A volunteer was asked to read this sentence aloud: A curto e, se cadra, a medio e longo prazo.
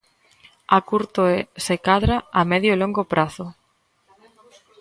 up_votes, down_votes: 0, 2